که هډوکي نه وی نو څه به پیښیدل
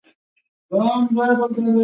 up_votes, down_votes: 1, 2